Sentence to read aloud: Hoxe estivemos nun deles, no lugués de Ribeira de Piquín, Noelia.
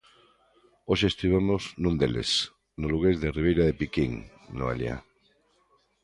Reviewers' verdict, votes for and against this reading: accepted, 2, 0